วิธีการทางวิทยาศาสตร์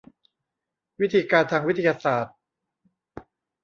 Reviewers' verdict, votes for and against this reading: accepted, 2, 0